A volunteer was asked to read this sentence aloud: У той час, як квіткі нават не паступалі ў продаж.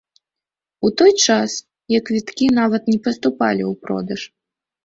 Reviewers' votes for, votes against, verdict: 2, 0, accepted